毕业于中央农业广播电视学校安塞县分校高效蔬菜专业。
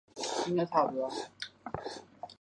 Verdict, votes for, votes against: rejected, 1, 6